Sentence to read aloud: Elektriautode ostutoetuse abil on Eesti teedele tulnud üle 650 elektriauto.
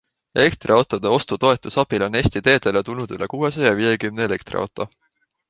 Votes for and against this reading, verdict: 0, 2, rejected